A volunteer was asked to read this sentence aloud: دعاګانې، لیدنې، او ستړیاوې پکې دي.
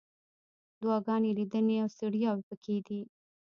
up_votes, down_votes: 2, 0